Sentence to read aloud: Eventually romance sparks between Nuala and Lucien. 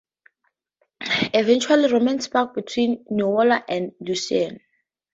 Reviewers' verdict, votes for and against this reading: rejected, 0, 2